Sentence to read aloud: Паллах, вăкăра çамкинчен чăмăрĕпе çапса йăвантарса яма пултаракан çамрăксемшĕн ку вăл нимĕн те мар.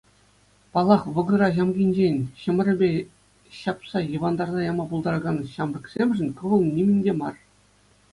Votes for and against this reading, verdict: 2, 0, accepted